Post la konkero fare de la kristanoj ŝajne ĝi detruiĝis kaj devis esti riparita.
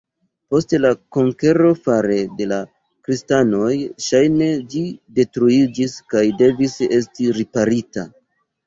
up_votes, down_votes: 0, 2